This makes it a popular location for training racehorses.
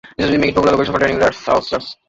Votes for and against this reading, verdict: 0, 2, rejected